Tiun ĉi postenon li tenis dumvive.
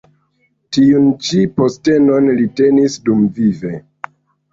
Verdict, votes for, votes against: accepted, 2, 0